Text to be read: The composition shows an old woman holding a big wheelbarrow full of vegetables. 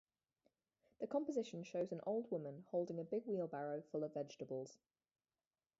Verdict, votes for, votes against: accepted, 2, 0